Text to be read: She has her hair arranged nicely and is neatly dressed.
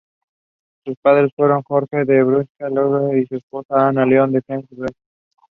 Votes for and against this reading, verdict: 1, 2, rejected